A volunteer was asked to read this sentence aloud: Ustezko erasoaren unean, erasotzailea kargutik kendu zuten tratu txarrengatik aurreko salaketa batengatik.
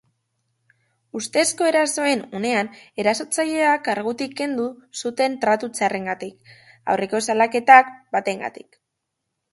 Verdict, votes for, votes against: accepted, 3, 1